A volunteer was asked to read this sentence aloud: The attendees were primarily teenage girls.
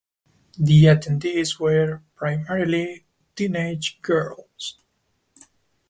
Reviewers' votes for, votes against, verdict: 2, 0, accepted